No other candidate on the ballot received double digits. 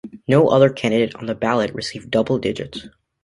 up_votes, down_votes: 3, 0